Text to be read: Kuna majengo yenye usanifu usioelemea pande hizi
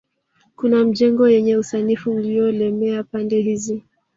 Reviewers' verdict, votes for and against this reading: accepted, 2, 0